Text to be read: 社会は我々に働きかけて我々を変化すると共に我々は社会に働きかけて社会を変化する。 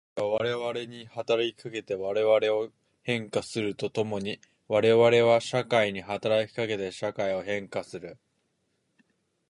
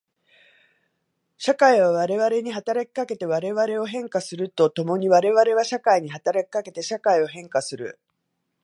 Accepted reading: second